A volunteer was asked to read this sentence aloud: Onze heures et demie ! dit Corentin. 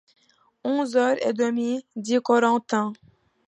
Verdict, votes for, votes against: accepted, 2, 0